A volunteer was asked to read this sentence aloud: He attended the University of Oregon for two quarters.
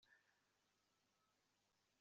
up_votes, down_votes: 0, 2